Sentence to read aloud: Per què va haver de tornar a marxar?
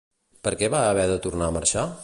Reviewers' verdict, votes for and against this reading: accepted, 2, 0